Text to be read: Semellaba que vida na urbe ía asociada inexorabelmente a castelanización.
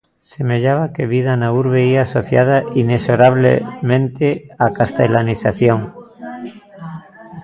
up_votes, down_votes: 0, 2